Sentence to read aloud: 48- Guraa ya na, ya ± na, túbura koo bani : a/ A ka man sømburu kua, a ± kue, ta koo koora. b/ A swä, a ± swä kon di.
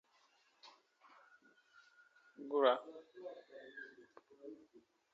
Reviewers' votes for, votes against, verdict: 0, 2, rejected